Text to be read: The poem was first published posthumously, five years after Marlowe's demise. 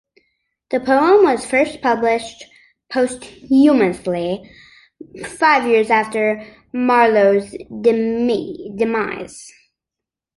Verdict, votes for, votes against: rejected, 0, 2